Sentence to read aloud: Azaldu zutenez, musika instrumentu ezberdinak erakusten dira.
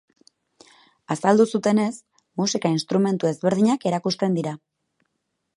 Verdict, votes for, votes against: accepted, 6, 0